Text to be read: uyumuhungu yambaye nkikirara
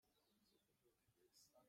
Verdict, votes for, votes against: rejected, 0, 2